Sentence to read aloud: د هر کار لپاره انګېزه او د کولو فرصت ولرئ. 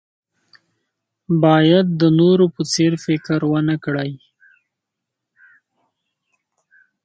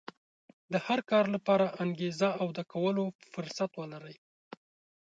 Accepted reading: second